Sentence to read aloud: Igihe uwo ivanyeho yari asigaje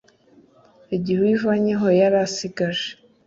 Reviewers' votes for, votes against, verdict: 2, 0, accepted